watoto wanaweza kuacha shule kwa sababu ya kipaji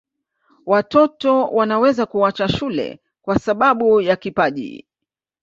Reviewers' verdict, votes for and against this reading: rejected, 2, 3